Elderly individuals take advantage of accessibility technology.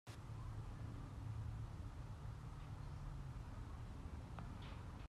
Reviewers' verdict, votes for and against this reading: rejected, 0, 2